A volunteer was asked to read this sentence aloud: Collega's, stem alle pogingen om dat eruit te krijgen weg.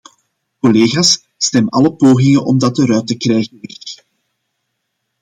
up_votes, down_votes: 1, 2